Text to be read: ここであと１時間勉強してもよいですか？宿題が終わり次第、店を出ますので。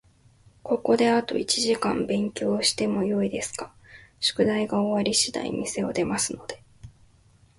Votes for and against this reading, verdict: 0, 2, rejected